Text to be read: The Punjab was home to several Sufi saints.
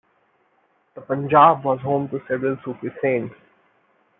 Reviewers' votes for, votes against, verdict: 0, 2, rejected